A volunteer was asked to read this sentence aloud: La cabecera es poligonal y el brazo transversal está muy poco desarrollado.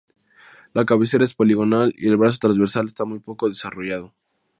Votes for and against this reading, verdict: 2, 2, rejected